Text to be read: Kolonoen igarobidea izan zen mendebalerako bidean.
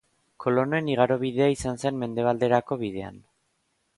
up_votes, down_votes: 4, 0